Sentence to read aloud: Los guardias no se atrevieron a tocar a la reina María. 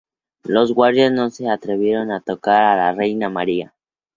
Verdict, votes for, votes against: accepted, 2, 0